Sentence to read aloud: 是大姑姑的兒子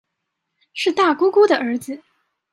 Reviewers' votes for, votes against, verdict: 2, 0, accepted